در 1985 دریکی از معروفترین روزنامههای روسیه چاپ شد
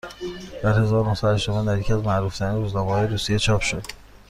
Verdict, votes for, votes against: rejected, 0, 2